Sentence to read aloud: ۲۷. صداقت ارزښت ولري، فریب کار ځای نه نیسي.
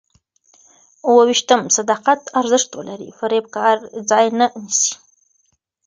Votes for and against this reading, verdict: 0, 2, rejected